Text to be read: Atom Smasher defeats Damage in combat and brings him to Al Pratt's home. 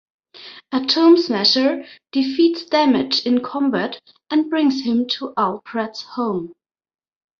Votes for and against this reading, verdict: 1, 2, rejected